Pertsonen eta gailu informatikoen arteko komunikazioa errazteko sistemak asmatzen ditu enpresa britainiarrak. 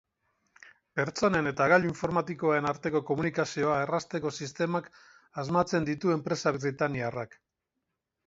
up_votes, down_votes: 4, 2